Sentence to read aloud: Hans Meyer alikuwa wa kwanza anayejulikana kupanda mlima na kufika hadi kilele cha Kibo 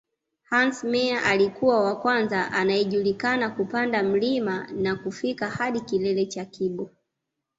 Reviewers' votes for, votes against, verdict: 2, 0, accepted